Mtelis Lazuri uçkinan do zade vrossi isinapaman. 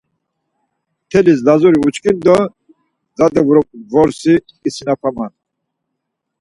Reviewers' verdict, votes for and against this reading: accepted, 4, 0